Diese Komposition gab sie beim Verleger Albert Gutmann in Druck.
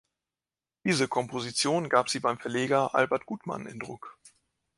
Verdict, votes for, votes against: accepted, 2, 0